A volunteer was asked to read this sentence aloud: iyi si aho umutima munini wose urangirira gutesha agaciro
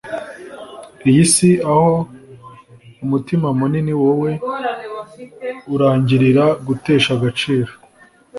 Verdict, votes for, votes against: rejected, 0, 2